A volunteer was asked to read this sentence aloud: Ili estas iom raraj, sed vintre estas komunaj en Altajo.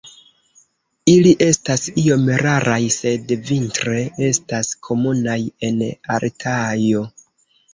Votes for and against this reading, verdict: 0, 2, rejected